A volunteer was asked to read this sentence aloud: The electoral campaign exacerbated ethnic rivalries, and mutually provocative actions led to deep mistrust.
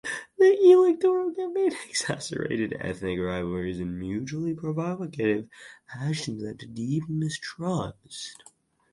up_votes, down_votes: 0, 4